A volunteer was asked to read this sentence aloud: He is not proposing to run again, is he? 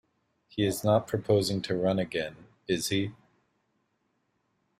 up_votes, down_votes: 2, 0